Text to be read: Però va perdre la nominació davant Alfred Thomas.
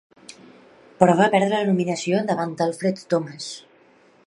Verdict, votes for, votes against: rejected, 0, 2